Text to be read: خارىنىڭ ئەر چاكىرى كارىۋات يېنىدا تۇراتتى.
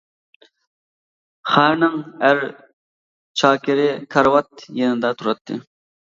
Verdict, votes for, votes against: accepted, 2, 1